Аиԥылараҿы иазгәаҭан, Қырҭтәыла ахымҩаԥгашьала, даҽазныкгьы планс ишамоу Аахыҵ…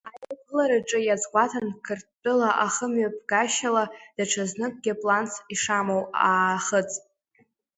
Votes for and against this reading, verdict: 0, 2, rejected